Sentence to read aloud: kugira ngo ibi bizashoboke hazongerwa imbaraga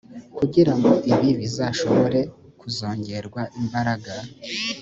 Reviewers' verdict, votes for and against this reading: rejected, 1, 2